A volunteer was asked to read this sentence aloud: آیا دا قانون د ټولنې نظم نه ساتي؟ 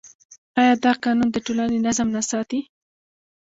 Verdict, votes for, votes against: rejected, 1, 2